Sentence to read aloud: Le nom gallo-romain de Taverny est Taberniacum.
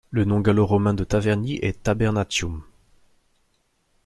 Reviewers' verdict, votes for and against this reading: rejected, 1, 2